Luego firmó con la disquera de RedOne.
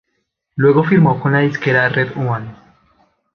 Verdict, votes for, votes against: rejected, 0, 2